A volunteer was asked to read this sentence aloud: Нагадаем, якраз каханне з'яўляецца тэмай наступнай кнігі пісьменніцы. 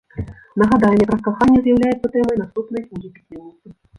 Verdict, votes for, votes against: rejected, 0, 2